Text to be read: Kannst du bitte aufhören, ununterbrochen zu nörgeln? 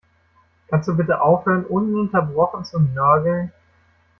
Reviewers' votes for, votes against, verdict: 0, 2, rejected